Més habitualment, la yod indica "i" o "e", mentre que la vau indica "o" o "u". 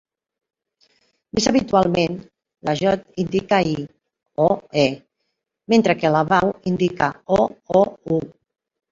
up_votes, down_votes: 0, 2